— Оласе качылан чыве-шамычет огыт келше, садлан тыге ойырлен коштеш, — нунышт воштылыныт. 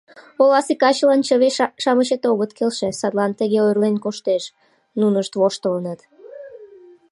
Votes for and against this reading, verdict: 0, 2, rejected